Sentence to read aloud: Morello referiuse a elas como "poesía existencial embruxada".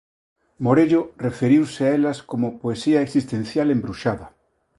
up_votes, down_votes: 2, 0